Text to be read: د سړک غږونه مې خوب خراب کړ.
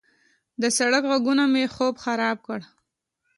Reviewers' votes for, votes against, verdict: 2, 0, accepted